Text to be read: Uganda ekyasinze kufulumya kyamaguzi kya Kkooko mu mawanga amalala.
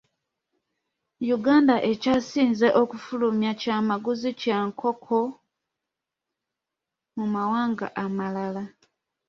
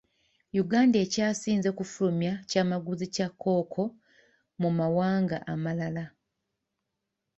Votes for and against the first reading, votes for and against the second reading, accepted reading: 0, 2, 2, 0, second